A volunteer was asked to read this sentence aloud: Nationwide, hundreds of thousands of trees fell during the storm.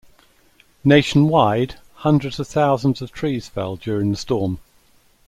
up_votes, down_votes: 2, 0